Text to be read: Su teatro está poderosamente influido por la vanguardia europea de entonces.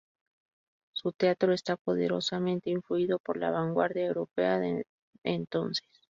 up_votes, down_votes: 2, 0